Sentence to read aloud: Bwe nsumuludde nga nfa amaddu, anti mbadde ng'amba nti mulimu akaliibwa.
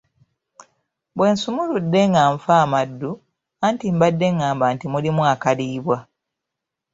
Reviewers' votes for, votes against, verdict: 0, 2, rejected